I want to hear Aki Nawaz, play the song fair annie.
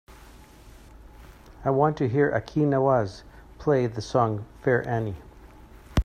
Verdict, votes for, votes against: accepted, 2, 1